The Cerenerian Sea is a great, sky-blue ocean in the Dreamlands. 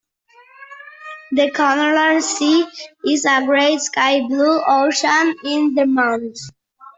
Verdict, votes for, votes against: rejected, 0, 2